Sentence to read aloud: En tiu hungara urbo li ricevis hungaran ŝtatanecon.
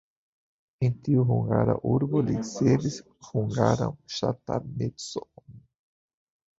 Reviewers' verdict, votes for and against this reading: rejected, 1, 2